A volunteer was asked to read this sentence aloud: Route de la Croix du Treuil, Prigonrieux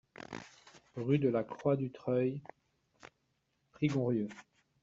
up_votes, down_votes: 0, 2